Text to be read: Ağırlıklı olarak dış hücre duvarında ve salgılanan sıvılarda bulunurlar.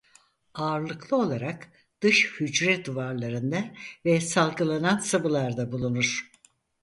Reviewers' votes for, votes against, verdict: 0, 4, rejected